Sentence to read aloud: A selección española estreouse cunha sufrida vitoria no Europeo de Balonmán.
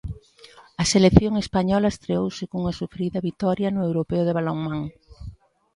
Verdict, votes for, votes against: accepted, 2, 0